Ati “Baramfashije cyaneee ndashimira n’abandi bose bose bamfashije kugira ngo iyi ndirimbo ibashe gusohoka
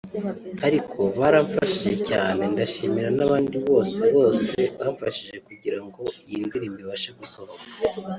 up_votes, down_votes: 3, 0